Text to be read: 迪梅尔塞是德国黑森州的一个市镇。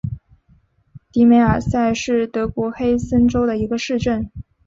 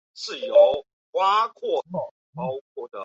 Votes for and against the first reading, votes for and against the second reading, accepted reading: 2, 0, 1, 2, first